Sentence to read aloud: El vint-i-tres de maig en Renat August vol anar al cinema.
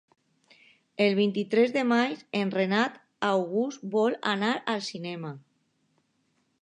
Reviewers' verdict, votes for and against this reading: accepted, 2, 0